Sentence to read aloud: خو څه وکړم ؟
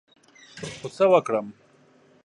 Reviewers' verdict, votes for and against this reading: accepted, 3, 0